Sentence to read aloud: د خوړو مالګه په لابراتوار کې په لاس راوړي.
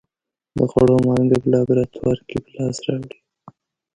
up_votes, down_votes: 0, 2